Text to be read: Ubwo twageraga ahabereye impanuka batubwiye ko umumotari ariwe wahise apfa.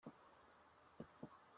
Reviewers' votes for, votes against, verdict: 0, 2, rejected